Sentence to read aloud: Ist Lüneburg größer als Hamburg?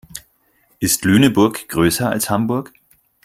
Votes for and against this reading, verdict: 4, 0, accepted